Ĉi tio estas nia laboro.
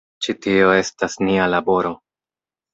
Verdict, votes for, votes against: accepted, 2, 1